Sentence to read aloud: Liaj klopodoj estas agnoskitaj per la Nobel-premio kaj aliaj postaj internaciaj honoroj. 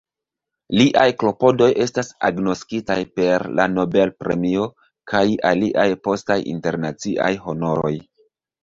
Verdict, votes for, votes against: accepted, 2, 1